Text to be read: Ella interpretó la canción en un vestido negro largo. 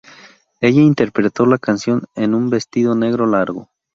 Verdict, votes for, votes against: accepted, 4, 0